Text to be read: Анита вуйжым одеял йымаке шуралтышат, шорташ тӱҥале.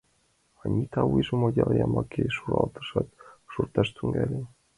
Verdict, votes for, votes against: accepted, 2, 1